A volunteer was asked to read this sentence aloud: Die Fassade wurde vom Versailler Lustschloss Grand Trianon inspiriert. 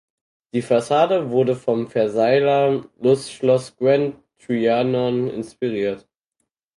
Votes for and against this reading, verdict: 2, 4, rejected